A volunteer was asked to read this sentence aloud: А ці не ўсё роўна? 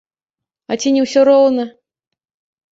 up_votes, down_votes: 0, 2